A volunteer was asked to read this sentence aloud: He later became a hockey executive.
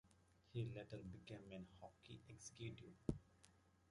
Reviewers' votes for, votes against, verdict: 0, 2, rejected